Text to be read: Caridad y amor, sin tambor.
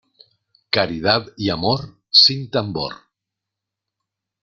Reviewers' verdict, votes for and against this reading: accepted, 2, 0